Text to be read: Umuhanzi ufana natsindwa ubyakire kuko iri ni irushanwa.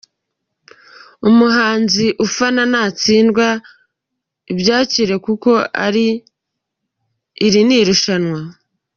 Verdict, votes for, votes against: rejected, 0, 2